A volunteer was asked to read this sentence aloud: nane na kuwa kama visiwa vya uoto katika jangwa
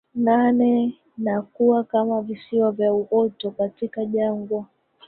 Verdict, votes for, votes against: rejected, 1, 2